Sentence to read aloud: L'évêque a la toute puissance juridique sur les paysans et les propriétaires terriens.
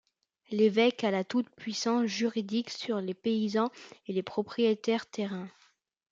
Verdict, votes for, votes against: rejected, 0, 2